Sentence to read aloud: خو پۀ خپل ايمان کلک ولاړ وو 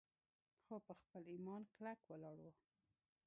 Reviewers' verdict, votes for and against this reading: rejected, 0, 2